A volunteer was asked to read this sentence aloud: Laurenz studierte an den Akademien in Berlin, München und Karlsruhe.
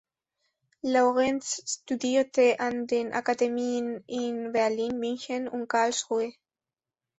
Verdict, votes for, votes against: accepted, 2, 0